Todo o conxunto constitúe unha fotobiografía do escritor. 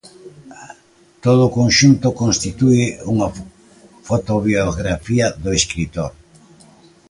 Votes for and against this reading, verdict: 0, 2, rejected